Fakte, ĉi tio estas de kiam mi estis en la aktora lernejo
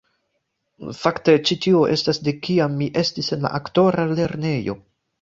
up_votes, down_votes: 2, 1